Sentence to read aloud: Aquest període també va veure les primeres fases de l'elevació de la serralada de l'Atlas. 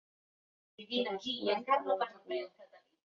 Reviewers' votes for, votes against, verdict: 0, 3, rejected